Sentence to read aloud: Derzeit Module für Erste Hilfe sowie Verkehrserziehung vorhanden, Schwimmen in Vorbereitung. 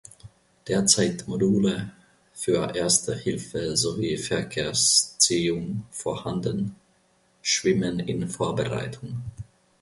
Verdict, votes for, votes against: rejected, 0, 2